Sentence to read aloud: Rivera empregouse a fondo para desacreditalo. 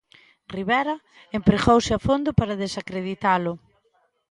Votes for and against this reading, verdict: 2, 0, accepted